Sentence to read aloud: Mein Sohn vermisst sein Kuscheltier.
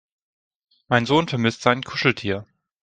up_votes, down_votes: 2, 0